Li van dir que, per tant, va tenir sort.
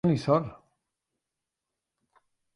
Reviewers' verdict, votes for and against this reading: rejected, 0, 3